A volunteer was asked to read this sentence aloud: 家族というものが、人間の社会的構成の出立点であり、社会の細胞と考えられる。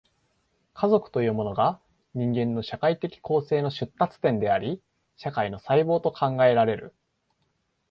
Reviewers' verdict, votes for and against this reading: accepted, 2, 0